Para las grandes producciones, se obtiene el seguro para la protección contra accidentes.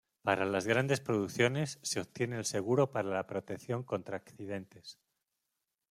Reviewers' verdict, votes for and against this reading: accepted, 2, 0